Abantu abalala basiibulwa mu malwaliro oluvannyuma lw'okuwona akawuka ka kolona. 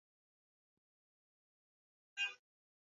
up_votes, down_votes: 1, 3